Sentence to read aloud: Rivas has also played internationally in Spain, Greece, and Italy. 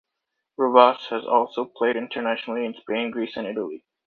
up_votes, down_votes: 2, 0